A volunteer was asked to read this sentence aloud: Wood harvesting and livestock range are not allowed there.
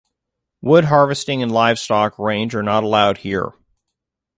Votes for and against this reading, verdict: 0, 2, rejected